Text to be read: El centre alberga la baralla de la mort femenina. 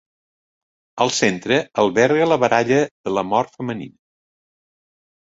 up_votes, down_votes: 1, 2